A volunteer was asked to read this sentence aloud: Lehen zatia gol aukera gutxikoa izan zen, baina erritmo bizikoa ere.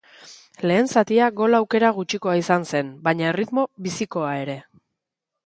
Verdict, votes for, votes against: accepted, 3, 0